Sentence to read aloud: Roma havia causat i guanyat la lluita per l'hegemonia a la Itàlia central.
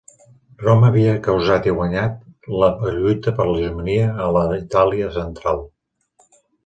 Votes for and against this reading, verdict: 2, 1, accepted